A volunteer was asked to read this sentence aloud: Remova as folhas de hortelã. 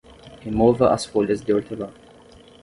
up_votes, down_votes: 10, 0